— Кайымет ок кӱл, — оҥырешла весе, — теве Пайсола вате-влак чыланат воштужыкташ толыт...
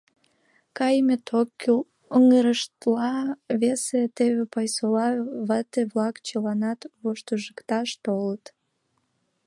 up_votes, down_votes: 0, 2